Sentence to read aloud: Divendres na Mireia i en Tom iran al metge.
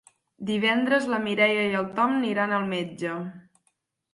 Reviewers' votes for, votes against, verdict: 0, 4, rejected